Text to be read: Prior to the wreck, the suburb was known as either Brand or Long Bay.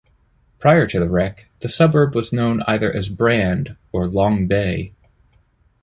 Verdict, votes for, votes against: rejected, 1, 2